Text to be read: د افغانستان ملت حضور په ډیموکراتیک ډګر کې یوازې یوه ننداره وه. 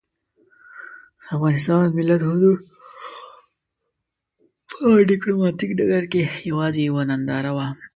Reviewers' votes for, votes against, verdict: 2, 3, rejected